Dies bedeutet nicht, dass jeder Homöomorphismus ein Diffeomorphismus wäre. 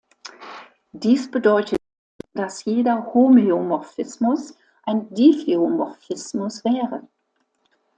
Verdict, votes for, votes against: rejected, 0, 2